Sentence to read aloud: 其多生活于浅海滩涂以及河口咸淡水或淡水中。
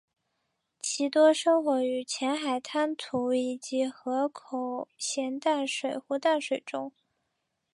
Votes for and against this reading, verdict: 3, 0, accepted